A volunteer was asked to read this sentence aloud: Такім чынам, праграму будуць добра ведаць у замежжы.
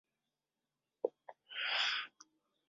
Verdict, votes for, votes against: rejected, 0, 2